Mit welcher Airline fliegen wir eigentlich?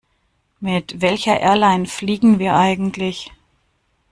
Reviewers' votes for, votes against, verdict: 2, 0, accepted